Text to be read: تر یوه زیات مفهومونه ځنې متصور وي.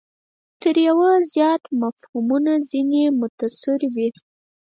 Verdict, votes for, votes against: rejected, 0, 4